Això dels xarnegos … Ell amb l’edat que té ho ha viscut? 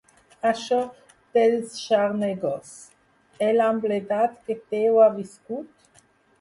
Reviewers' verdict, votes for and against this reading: rejected, 0, 4